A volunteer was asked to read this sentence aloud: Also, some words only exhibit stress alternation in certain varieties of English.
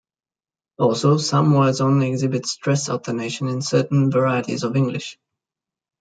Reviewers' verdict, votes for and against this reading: accepted, 2, 0